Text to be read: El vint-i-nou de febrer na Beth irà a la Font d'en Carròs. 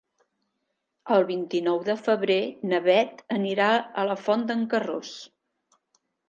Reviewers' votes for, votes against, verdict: 2, 1, accepted